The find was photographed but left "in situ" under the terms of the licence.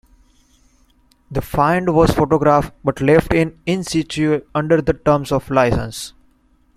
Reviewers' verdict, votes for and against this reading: rejected, 1, 2